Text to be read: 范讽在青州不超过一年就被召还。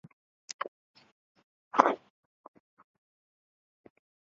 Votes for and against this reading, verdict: 0, 3, rejected